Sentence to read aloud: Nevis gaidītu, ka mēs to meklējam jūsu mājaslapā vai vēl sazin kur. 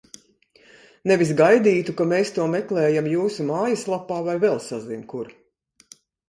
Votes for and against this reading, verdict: 2, 0, accepted